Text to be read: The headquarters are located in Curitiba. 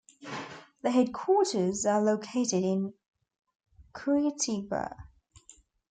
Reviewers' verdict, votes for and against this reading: accepted, 2, 0